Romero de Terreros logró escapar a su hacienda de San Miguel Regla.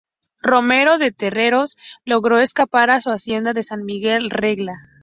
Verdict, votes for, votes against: rejected, 0, 2